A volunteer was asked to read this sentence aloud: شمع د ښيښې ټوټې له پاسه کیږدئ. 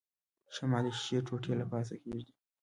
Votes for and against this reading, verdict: 1, 2, rejected